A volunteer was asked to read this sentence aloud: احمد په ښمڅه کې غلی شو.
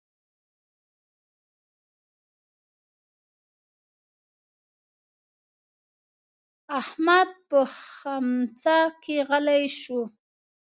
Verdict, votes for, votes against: rejected, 0, 2